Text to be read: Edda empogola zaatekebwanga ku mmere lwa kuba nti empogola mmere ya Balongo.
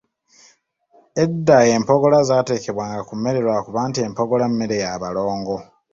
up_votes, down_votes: 2, 0